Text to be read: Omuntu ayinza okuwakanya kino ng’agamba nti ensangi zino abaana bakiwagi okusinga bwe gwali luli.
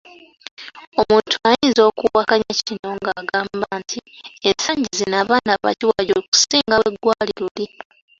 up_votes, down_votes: 3, 0